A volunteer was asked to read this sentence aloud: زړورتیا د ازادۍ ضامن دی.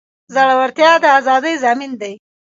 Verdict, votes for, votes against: rejected, 1, 2